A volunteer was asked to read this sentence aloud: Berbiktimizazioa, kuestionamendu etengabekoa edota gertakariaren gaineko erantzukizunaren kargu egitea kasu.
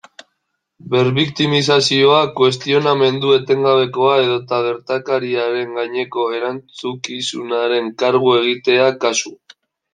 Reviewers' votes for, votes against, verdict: 0, 2, rejected